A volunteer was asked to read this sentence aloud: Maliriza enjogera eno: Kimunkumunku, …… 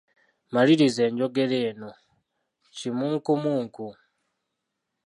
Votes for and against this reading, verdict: 2, 1, accepted